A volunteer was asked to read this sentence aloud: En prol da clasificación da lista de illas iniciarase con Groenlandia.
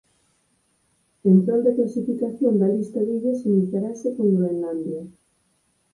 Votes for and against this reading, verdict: 2, 4, rejected